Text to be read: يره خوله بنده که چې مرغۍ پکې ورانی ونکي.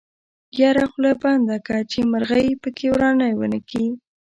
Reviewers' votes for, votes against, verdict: 2, 0, accepted